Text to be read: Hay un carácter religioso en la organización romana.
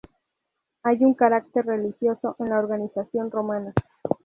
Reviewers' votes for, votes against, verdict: 0, 2, rejected